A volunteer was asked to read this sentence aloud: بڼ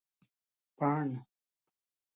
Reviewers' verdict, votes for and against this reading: accepted, 2, 0